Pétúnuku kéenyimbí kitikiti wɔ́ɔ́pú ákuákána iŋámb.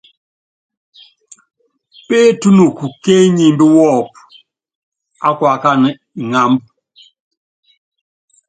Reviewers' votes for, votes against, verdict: 2, 0, accepted